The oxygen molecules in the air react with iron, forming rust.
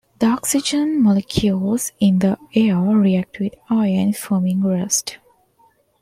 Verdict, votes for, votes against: accepted, 2, 0